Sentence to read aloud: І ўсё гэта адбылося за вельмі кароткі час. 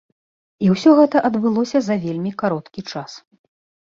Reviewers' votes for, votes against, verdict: 2, 0, accepted